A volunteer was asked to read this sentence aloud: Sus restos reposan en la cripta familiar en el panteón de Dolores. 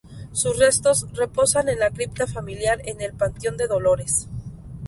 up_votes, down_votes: 0, 2